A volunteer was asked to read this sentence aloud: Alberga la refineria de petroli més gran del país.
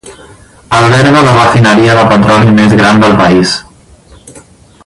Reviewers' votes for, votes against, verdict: 2, 2, rejected